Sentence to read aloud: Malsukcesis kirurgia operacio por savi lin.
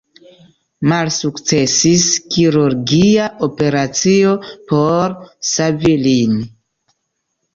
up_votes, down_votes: 2, 0